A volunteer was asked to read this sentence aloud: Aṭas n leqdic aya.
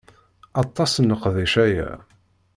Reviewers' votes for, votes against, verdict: 2, 0, accepted